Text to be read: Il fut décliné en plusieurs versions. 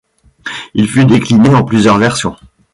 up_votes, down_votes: 2, 0